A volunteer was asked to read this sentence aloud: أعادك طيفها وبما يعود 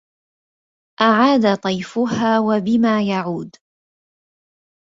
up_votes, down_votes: 0, 2